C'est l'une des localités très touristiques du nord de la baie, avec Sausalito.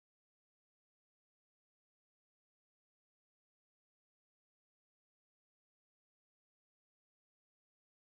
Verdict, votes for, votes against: rejected, 0, 2